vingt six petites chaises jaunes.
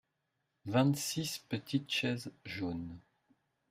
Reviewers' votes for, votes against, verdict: 2, 0, accepted